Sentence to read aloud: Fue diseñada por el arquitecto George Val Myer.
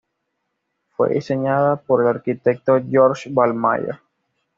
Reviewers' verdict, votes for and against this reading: accepted, 2, 0